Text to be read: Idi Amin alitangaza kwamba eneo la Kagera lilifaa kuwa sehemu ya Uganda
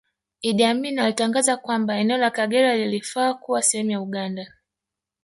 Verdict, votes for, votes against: rejected, 1, 2